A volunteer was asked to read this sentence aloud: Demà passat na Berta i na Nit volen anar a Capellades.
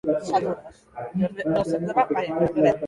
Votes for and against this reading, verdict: 0, 2, rejected